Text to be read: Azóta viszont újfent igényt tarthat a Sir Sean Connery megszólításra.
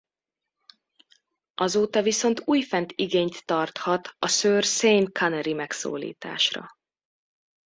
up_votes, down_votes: 0, 2